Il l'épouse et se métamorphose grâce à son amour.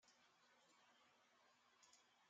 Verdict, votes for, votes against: rejected, 0, 2